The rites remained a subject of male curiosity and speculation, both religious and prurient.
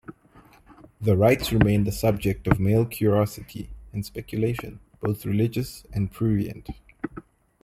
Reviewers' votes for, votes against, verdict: 2, 0, accepted